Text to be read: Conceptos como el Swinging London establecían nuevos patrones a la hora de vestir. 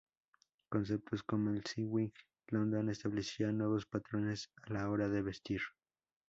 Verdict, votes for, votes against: accepted, 4, 0